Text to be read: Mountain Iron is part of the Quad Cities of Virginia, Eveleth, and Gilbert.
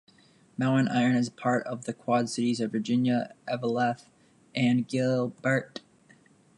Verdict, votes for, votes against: accepted, 2, 0